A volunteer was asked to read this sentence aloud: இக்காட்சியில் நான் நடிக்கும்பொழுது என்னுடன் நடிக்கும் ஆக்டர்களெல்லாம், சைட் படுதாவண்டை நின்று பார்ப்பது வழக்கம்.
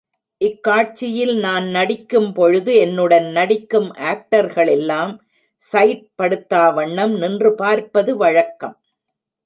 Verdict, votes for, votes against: rejected, 0, 2